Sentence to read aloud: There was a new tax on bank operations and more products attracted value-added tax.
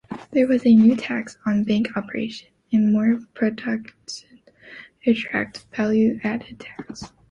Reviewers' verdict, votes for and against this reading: rejected, 0, 3